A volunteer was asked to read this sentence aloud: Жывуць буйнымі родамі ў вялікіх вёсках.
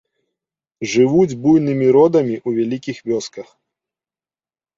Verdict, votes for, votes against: accepted, 2, 1